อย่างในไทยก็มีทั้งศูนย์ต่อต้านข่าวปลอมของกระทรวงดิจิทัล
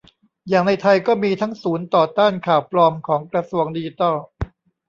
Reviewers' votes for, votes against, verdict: 0, 3, rejected